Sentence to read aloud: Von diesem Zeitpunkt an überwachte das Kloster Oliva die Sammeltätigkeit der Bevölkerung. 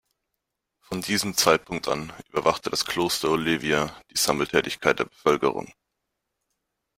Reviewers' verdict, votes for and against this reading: rejected, 1, 2